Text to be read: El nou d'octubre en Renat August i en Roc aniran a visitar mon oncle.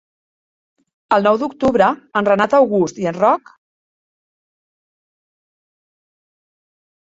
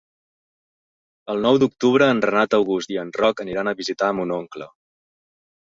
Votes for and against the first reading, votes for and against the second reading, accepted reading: 0, 2, 3, 0, second